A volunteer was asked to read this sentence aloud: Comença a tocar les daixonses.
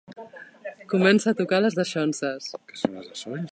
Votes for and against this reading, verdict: 2, 3, rejected